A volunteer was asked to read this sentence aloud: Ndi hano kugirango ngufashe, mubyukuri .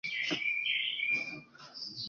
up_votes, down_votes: 2, 3